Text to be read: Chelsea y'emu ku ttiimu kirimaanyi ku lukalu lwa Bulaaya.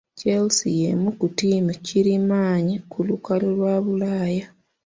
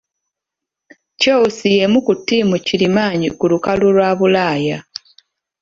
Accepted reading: second